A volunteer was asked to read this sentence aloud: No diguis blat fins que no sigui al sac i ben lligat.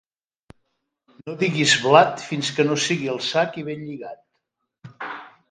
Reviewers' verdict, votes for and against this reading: accepted, 2, 0